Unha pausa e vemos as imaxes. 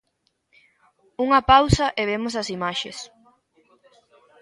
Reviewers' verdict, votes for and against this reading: accepted, 2, 0